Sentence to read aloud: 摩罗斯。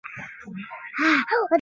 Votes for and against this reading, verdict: 0, 2, rejected